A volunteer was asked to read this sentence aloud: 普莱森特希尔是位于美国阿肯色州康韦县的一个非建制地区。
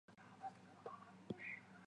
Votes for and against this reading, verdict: 0, 3, rejected